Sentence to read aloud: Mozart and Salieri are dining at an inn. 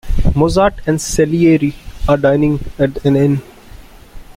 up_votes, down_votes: 2, 0